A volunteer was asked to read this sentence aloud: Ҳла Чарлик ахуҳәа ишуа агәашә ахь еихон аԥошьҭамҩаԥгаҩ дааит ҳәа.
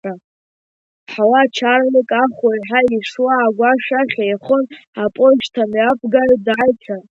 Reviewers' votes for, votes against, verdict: 1, 2, rejected